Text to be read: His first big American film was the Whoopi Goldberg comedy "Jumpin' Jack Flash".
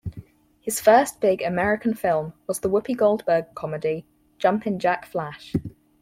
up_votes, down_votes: 4, 0